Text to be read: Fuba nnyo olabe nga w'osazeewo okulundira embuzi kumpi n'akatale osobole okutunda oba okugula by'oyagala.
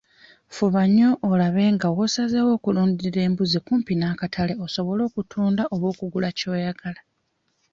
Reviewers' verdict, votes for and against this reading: rejected, 1, 2